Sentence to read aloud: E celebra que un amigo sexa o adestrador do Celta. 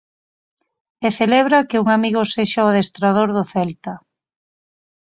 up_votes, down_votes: 4, 0